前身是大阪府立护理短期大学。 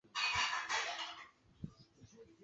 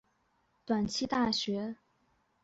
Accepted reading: first